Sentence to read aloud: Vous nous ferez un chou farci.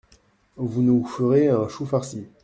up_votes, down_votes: 2, 0